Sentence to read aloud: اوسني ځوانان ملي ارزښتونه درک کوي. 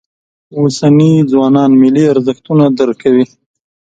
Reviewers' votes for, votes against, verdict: 2, 0, accepted